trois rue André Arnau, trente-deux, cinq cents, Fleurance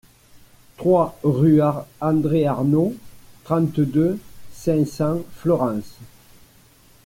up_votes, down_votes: 0, 2